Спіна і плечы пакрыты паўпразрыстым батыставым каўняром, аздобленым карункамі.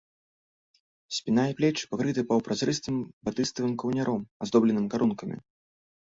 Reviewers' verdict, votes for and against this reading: rejected, 0, 2